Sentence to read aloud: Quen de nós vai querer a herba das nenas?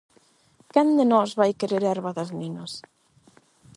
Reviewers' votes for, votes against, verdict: 8, 0, accepted